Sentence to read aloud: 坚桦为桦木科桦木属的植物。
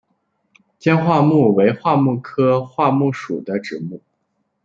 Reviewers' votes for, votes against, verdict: 0, 2, rejected